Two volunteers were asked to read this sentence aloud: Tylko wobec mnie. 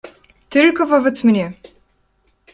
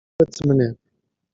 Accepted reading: first